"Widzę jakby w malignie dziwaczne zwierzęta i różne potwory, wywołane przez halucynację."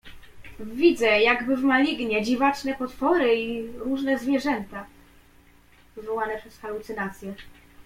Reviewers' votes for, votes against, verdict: 1, 2, rejected